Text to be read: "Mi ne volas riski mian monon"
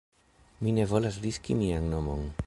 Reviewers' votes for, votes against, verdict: 1, 2, rejected